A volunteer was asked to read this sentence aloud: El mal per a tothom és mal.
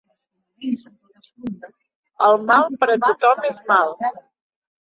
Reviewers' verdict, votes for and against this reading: accepted, 2, 0